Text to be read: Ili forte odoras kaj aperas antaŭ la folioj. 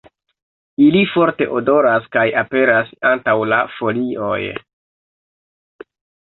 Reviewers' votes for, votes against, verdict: 2, 0, accepted